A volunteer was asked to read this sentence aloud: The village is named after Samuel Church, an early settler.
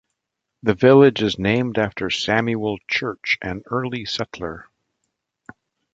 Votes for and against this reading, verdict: 2, 0, accepted